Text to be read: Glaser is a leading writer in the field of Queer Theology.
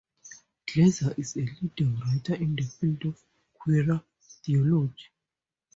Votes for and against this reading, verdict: 2, 2, rejected